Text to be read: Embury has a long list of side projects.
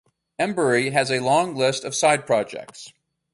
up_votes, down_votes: 2, 0